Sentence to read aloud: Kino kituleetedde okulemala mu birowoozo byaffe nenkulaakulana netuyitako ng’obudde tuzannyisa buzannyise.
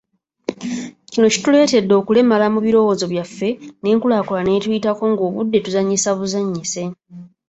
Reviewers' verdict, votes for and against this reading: accepted, 2, 0